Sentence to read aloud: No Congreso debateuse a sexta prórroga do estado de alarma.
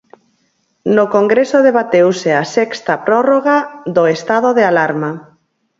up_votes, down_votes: 4, 0